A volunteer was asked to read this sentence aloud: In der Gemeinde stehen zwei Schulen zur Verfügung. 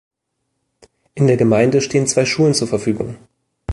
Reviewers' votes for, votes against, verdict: 2, 0, accepted